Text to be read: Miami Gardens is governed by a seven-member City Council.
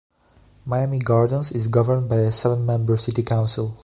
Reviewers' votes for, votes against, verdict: 2, 0, accepted